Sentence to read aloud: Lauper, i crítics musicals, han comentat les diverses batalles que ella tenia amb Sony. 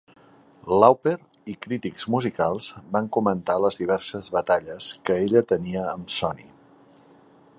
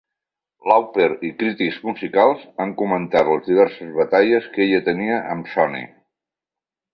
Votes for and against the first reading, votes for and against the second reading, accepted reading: 1, 2, 3, 0, second